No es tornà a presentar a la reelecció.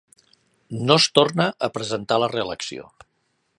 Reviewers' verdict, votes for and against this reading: rejected, 1, 2